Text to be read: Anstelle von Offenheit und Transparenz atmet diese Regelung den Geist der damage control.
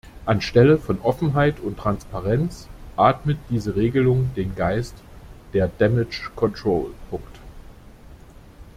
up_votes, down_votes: 0, 2